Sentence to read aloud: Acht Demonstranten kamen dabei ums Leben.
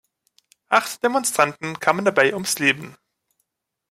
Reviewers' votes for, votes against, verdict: 2, 0, accepted